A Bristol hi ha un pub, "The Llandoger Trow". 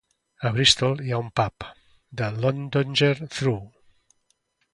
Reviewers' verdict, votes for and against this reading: accepted, 2, 1